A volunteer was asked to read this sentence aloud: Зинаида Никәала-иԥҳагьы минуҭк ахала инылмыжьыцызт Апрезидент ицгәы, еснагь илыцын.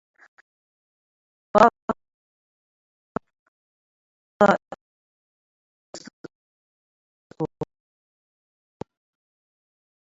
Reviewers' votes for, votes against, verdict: 0, 2, rejected